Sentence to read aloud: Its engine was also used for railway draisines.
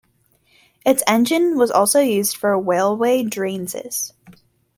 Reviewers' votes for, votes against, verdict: 1, 2, rejected